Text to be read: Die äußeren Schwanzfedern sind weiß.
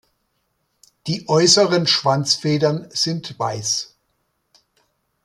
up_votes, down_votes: 2, 0